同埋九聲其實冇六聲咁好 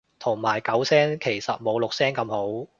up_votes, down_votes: 2, 0